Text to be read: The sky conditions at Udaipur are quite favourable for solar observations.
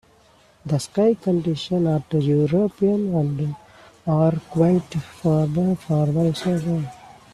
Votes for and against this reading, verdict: 0, 2, rejected